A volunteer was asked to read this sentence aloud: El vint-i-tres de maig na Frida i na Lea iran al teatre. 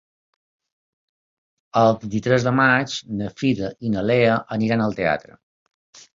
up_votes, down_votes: 0, 2